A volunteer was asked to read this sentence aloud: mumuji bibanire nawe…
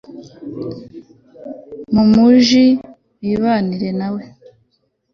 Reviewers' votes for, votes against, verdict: 2, 0, accepted